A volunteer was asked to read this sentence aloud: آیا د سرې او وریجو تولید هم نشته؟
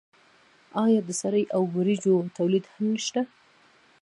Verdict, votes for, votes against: rejected, 0, 2